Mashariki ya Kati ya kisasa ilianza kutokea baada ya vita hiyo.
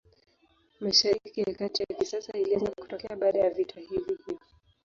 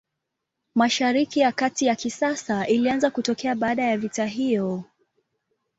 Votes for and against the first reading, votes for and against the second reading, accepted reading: 0, 2, 2, 0, second